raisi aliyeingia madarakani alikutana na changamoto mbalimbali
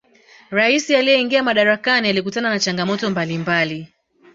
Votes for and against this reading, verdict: 1, 2, rejected